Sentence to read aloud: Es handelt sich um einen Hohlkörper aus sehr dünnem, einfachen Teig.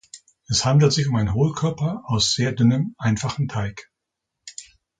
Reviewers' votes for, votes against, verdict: 2, 1, accepted